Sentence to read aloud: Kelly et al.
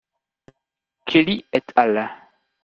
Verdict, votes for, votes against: rejected, 0, 2